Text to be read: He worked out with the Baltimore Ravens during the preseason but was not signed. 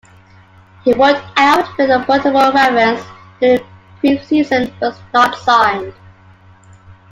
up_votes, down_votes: 1, 2